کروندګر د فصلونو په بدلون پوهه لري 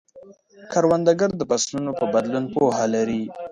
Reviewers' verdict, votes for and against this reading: rejected, 1, 2